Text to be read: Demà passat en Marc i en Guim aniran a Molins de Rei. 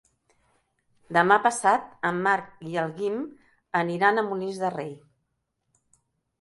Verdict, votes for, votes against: rejected, 0, 2